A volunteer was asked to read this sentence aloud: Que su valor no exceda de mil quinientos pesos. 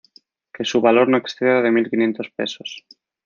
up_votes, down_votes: 1, 2